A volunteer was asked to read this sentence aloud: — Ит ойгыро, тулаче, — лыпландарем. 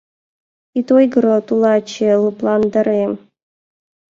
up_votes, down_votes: 2, 0